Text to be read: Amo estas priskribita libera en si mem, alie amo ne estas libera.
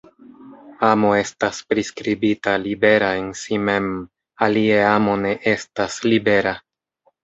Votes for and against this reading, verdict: 1, 2, rejected